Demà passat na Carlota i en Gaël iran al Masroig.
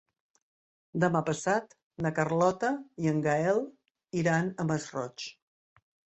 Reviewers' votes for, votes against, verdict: 0, 2, rejected